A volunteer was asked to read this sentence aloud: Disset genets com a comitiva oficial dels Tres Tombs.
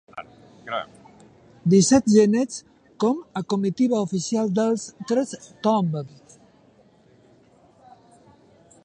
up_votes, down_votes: 1, 2